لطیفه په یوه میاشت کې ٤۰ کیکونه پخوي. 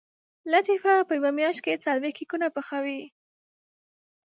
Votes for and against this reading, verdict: 0, 2, rejected